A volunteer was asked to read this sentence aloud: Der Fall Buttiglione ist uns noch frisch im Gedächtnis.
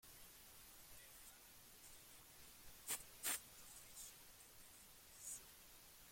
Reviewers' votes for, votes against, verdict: 0, 2, rejected